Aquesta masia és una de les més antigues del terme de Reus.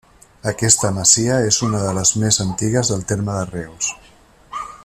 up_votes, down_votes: 3, 0